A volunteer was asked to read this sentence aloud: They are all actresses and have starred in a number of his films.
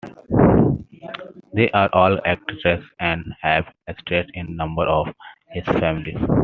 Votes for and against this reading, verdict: 1, 2, rejected